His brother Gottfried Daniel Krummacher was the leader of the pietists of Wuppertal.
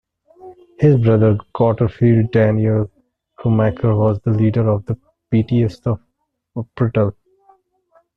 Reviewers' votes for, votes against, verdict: 0, 2, rejected